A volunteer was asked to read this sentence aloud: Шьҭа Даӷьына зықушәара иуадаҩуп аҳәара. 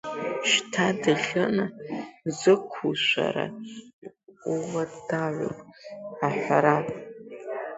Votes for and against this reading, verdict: 0, 2, rejected